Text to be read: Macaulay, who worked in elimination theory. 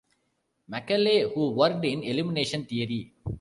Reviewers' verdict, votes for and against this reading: accepted, 2, 0